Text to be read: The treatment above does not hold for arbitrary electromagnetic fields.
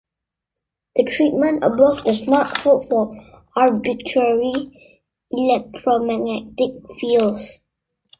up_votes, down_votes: 2, 0